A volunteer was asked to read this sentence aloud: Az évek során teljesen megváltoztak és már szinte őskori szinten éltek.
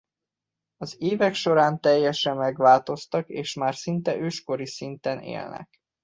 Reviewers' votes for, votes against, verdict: 1, 2, rejected